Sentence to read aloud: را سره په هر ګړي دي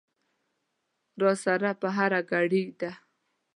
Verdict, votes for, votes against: rejected, 1, 2